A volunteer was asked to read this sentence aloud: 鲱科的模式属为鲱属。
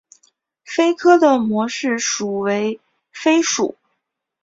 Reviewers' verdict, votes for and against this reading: accepted, 4, 1